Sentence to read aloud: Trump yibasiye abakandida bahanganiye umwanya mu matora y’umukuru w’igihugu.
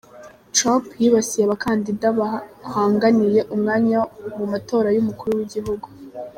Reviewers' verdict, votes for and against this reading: rejected, 1, 2